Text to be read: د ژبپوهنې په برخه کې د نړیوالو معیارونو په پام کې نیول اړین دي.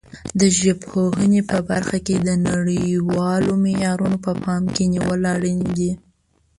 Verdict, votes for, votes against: accepted, 5, 2